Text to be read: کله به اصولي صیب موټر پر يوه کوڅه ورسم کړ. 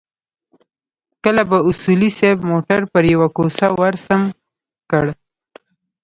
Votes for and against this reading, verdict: 0, 2, rejected